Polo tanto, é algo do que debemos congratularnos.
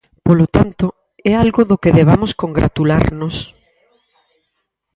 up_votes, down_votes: 0, 4